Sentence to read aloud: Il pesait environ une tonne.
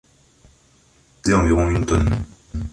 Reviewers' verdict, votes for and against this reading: rejected, 1, 3